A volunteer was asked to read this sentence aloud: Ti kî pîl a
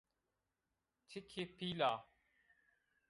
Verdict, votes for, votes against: rejected, 1, 2